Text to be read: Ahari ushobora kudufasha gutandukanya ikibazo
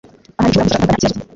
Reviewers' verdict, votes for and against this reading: rejected, 0, 2